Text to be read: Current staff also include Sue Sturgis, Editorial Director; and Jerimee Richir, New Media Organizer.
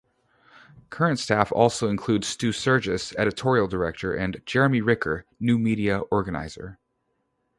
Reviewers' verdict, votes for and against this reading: rejected, 0, 2